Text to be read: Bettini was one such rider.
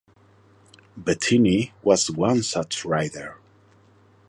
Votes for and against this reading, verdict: 2, 0, accepted